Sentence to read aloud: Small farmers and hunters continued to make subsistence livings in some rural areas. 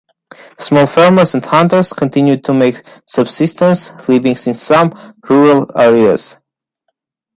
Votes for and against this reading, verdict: 2, 1, accepted